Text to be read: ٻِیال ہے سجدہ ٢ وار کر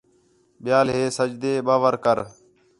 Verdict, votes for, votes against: rejected, 0, 2